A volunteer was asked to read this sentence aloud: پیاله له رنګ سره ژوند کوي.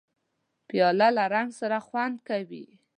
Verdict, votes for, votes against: rejected, 0, 2